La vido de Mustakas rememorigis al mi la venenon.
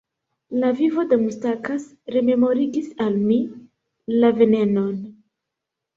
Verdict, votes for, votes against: rejected, 1, 2